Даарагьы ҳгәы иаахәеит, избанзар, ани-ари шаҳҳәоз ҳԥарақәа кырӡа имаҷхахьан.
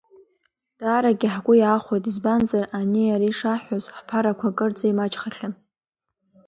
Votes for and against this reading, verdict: 2, 0, accepted